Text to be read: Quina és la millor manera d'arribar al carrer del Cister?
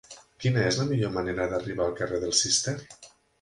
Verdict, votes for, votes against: accepted, 3, 0